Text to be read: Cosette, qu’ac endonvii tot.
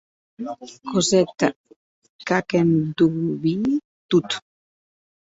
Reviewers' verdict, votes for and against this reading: rejected, 0, 4